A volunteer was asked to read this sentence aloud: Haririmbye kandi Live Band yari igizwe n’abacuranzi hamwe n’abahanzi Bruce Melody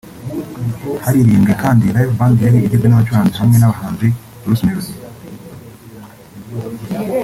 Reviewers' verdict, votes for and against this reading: rejected, 2, 3